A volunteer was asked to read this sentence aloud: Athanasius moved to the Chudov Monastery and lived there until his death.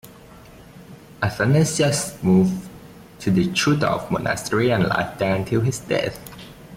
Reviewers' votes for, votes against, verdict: 0, 2, rejected